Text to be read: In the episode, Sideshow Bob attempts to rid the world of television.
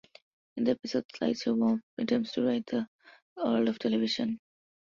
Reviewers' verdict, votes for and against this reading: rejected, 0, 2